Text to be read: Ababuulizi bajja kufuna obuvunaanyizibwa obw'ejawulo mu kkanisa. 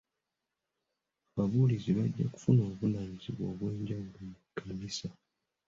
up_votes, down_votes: 2, 0